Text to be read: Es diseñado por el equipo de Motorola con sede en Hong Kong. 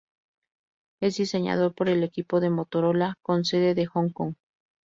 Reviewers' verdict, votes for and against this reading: rejected, 0, 2